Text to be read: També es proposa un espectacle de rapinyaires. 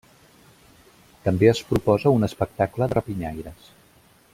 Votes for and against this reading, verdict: 1, 2, rejected